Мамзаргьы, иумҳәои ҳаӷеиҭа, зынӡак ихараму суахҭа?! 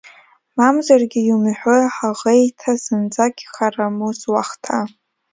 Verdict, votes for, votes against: accepted, 2, 1